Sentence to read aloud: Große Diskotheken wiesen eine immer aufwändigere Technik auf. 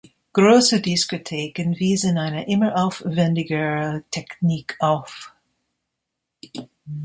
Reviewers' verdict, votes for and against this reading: accepted, 3, 2